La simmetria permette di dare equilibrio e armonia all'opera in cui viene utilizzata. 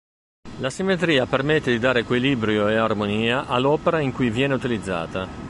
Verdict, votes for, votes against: rejected, 1, 2